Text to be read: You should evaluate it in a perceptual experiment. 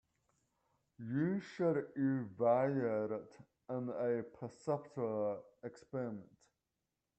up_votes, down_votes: 0, 2